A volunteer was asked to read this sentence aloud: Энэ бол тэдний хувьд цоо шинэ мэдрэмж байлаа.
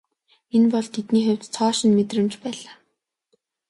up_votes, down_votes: 2, 0